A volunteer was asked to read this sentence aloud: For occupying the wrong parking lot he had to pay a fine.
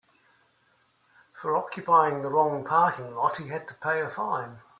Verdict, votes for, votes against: accepted, 2, 0